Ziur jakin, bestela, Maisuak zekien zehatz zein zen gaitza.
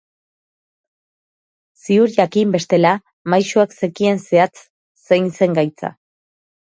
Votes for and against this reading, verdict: 2, 0, accepted